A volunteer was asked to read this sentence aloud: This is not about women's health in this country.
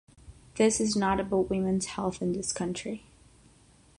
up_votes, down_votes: 3, 3